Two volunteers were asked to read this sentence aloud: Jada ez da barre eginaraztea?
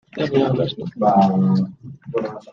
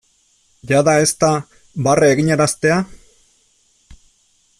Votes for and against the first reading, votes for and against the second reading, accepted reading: 0, 2, 2, 0, second